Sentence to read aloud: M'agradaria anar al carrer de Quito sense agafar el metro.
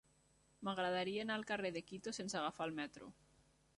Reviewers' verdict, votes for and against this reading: accepted, 3, 0